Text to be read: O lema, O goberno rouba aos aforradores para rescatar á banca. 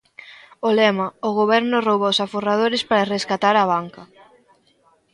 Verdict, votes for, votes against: accepted, 2, 0